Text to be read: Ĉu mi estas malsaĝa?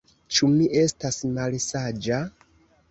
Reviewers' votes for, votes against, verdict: 1, 2, rejected